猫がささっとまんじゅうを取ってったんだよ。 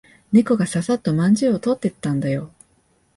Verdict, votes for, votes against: accepted, 4, 0